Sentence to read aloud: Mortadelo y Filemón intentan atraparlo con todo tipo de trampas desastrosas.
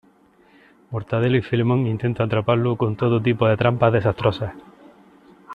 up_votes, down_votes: 1, 2